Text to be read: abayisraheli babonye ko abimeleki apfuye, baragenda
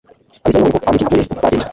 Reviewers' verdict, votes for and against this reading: rejected, 0, 2